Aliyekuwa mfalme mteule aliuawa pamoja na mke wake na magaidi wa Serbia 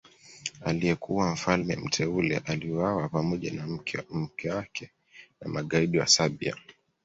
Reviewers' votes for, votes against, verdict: 1, 2, rejected